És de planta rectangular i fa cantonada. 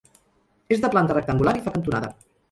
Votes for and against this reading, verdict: 2, 4, rejected